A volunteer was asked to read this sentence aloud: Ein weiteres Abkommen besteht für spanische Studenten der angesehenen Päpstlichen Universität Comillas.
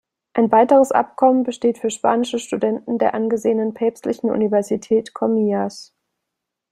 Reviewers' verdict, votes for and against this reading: accepted, 2, 0